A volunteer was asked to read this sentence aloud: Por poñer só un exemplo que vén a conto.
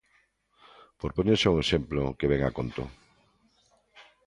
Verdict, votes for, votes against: accepted, 2, 1